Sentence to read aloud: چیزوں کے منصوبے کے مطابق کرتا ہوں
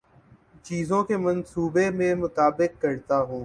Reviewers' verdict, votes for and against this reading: rejected, 0, 2